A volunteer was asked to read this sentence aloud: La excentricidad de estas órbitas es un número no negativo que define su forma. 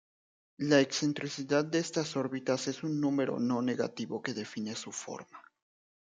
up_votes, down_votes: 2, 0